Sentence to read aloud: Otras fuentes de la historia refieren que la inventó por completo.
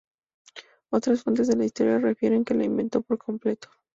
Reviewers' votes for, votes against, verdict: 2, 2, rejected